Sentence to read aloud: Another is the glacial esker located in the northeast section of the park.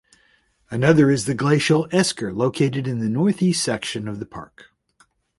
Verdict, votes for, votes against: accepted, 2, 0